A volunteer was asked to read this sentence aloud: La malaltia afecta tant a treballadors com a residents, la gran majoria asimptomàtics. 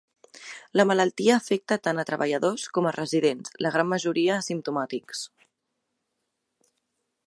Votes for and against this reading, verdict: 2, 0, accepted